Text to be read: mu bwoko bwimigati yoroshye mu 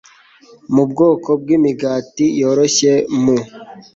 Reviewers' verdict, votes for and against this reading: accepted, 2, 0